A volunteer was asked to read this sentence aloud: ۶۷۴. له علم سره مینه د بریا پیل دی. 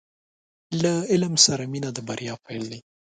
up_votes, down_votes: 0, 2